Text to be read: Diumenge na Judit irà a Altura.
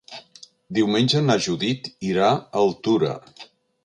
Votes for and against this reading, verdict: 4, 0, accepted